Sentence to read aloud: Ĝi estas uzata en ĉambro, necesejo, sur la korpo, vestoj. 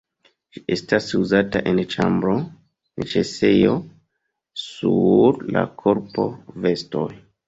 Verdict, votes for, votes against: rejected, 0, 2